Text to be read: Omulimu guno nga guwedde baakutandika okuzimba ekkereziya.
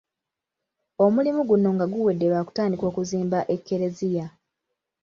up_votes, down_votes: 2, 0